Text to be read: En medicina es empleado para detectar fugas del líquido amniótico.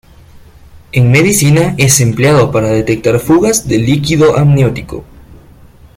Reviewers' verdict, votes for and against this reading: rejected, 0, 2